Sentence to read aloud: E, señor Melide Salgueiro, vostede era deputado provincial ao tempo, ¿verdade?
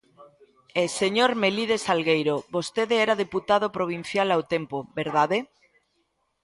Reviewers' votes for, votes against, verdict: 2, 0, accepted